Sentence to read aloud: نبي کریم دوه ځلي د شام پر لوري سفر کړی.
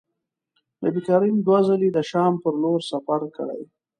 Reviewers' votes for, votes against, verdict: 2, 0, accepted